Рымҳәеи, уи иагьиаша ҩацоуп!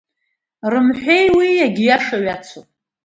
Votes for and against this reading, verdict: 2, 1, accepted